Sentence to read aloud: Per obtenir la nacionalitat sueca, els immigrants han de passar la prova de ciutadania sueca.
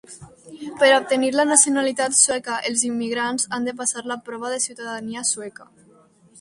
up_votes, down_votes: 2, 0